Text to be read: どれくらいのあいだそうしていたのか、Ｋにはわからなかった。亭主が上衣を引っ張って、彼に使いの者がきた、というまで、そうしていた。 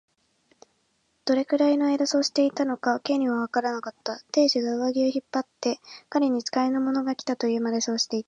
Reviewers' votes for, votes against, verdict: 10, 1, accepted